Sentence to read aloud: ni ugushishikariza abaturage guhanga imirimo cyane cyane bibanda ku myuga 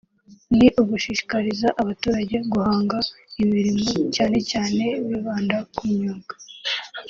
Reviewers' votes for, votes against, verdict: 3, 0, accepted